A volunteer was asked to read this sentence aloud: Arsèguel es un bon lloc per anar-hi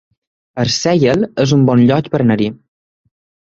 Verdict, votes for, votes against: rejected, 0, 3